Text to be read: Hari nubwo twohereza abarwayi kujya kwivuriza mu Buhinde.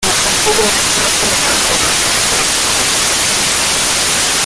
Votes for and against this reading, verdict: 0, 2, rejected